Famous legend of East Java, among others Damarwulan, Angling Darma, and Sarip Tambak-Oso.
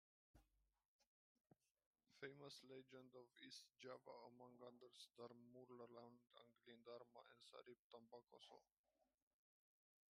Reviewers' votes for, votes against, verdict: 1, 2, rejected